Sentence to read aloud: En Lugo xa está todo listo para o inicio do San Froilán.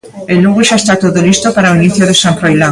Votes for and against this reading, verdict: 2, 1, accepted